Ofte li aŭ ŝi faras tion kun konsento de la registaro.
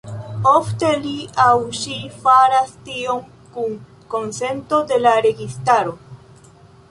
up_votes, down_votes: 2, 1